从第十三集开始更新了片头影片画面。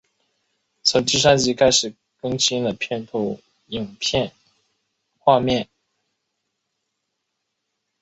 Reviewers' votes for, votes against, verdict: 4, 0, accepted